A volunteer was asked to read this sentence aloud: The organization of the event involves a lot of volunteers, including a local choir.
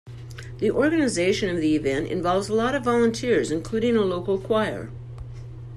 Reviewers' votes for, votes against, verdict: 2, 0, accepted